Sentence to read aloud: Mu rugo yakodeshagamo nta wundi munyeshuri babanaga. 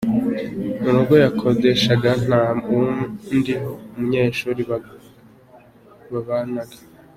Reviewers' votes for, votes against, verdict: 0, 3, rejected